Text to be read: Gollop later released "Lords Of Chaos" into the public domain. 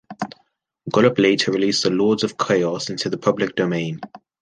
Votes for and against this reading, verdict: 1, 2, rejected